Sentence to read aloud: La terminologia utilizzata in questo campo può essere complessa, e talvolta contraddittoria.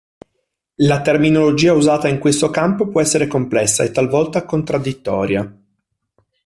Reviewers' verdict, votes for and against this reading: rejected, 1, 2